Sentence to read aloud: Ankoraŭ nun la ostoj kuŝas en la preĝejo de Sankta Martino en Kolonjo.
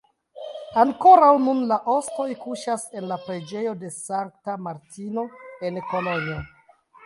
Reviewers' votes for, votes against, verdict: 2, 0, accepted